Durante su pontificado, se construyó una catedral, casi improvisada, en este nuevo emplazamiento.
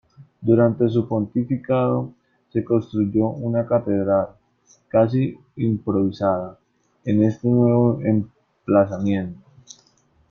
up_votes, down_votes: 1, 2